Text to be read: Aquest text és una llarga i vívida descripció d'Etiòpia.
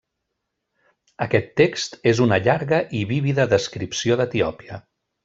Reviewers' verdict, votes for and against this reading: accepted, 3, 0